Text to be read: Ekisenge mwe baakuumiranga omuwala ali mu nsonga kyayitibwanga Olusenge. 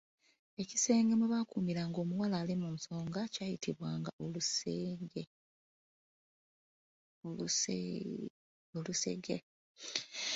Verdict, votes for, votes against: rejected, 0, 2